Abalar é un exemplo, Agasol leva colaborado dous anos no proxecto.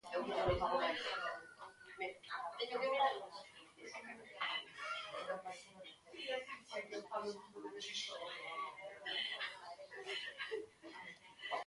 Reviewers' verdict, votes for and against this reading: rejected, 0, 2